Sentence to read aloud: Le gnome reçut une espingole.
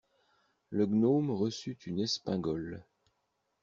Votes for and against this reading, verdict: 2, 0, accepted